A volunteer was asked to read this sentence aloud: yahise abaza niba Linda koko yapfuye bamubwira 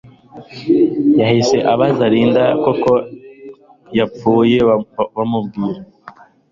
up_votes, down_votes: 0, 2